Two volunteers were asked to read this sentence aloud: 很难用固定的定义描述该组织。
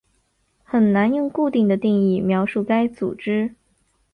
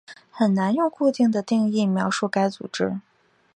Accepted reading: second